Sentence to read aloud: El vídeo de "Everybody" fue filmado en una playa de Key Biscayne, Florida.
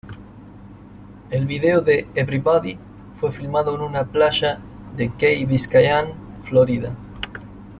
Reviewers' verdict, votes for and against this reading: accepted, 2, 0